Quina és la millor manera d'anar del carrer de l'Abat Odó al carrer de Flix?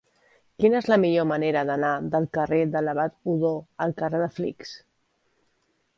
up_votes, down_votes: 2, 0